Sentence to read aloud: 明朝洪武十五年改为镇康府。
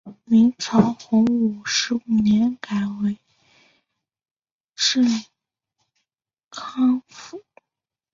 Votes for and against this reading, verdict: 1, 2, rejected